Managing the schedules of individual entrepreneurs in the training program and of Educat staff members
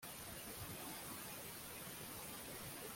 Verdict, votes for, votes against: rejected, 0, 2